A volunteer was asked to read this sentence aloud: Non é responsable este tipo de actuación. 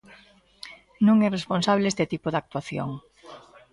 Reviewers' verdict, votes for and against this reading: accepted, 2, 0